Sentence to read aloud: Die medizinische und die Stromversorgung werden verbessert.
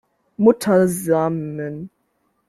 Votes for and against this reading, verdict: 0, 2, rejected